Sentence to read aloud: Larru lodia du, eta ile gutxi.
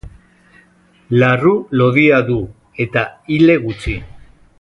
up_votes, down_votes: 2, 1